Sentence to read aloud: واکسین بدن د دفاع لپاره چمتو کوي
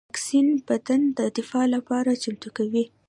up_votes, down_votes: 2, 0